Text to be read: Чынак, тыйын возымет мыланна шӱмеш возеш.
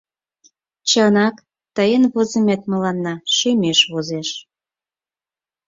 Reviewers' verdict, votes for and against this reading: accepted, 4, 0